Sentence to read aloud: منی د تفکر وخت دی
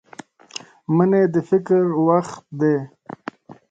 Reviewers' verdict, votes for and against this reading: rejected, 0, 2